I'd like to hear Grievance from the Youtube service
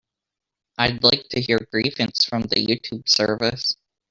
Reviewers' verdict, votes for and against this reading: rejected, 0, 3